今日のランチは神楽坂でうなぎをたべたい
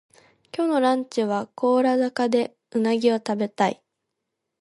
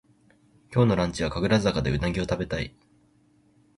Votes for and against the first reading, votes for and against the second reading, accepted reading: 0, 2, 2, 0, second